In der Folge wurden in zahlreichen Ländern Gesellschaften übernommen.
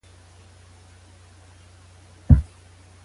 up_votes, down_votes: 0, 2